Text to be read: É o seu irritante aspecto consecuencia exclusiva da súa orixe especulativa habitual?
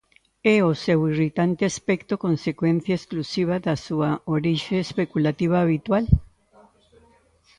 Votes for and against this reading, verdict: 2, 0, accepted